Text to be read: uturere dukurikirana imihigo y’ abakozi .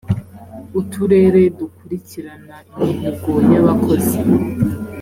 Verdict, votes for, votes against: accepted, 3, 0